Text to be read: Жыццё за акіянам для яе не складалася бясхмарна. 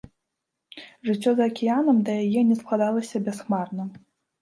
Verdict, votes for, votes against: rejected, 0, 2